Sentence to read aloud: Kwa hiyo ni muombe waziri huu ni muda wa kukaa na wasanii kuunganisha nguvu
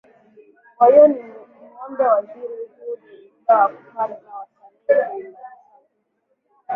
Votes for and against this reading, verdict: 4, 8, rejected